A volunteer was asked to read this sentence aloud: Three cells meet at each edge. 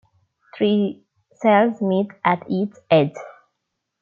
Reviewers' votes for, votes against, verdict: 2, 3, rejected